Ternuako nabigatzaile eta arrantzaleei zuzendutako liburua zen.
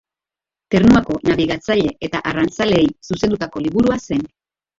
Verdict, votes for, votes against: rejected, 0, 2